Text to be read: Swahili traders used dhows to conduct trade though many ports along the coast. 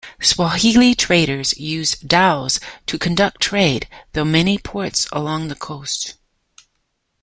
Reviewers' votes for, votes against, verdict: 0, 2, rejected